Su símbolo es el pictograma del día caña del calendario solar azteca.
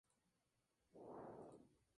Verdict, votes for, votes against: rejected, 0, 2